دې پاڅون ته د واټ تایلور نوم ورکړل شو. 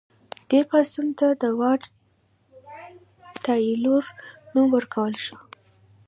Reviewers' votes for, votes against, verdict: 0, 2, rejected